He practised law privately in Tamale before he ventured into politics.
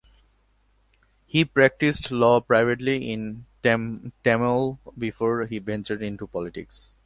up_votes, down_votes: 1, 2